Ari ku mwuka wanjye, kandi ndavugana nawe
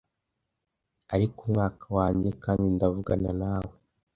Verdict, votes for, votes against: rejected, 1, 2